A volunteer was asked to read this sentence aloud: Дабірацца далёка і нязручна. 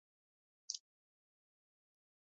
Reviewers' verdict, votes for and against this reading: rejected, 0, 2